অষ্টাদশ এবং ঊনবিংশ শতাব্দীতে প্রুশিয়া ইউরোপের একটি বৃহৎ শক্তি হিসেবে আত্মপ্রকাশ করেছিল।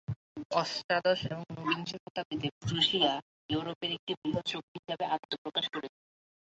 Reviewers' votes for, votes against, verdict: 1, 2, rejected